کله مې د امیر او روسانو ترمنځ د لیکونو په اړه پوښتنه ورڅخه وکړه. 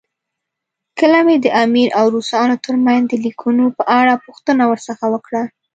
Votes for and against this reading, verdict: 2, 0, accepted